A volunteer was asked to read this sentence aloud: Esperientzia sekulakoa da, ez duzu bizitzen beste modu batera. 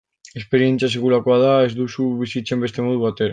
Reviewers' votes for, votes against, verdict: 2, 1, accepted